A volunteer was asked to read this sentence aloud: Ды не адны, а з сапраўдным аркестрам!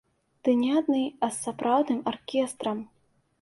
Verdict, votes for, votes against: accepted, 2, 0